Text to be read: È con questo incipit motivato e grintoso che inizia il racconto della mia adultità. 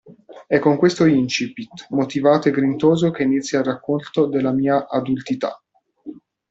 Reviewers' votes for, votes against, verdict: 0, 2, rejected